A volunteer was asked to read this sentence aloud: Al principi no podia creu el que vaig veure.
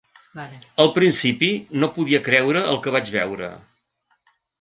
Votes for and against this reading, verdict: 2, 3, rejected